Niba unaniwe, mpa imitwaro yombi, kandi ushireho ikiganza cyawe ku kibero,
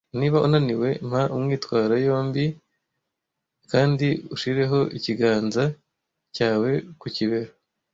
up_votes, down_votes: 0, 2